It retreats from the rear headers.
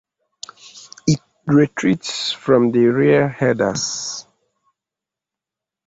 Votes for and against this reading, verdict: 2, 0, accepted